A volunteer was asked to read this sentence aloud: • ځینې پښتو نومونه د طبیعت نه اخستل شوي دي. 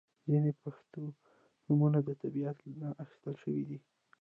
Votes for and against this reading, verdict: 1, 2, rejected